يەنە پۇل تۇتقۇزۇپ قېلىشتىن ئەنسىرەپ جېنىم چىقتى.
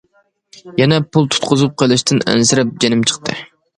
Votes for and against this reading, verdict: 2, 0, accepted